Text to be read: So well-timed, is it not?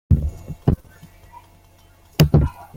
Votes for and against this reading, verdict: 0, 2, rejected